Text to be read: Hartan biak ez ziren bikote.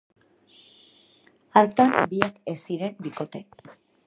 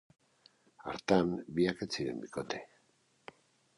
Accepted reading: second